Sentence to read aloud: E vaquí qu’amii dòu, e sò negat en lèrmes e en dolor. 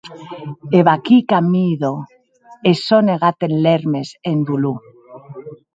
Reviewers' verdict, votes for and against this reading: rejected, 0, 2